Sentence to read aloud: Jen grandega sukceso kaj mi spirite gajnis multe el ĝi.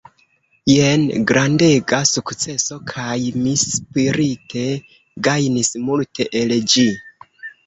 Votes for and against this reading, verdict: 2, 1, accepted